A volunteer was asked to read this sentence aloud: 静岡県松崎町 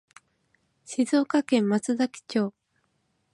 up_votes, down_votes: 2, 0